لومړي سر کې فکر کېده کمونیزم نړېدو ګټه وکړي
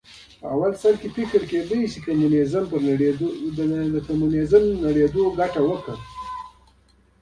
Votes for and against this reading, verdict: 2, 1, accepted